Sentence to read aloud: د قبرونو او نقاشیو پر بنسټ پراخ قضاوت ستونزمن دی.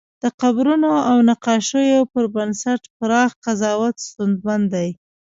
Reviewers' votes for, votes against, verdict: 2, 0, accepted